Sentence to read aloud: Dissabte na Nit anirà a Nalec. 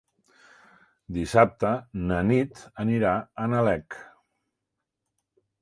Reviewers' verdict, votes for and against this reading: accepted, 3, 0